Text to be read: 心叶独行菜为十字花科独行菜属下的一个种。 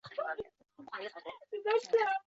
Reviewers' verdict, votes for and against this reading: rejected, 2, 3